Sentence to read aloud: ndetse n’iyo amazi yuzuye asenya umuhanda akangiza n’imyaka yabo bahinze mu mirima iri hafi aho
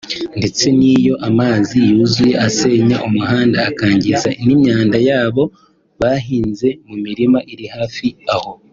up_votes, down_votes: 2, 0